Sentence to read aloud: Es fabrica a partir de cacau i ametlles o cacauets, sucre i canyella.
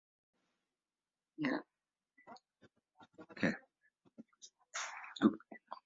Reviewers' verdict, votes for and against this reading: rejected, 0, 2